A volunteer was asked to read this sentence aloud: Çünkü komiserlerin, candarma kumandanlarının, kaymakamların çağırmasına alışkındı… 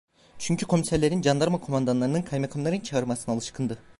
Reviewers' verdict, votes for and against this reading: rejected, 1, 2